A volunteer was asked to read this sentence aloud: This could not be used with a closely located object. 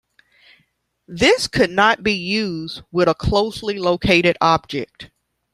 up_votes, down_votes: 2, 0